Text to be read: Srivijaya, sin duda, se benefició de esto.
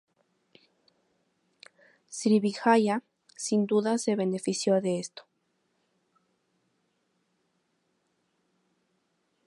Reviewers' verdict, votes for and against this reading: rejected, 0, 2